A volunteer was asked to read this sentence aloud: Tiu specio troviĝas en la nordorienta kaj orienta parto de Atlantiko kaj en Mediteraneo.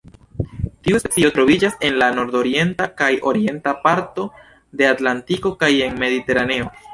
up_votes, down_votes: 0, 2